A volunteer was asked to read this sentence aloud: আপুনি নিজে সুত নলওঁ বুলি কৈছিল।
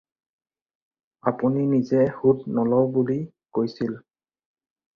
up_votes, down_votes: 4, 2